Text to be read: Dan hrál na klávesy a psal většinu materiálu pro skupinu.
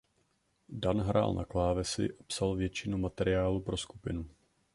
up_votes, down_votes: 0, 2